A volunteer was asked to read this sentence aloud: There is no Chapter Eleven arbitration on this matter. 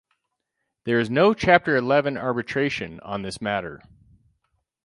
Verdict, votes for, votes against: accepted, 6, 0